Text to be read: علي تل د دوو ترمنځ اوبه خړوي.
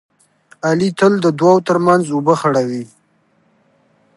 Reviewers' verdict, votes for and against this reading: accepted, 2, 0